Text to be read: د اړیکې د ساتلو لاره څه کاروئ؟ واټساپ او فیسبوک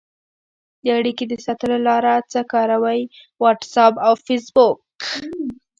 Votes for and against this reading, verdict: 1, 2, rejected